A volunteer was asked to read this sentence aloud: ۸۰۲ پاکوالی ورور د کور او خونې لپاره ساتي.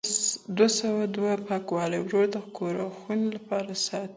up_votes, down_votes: 0, 2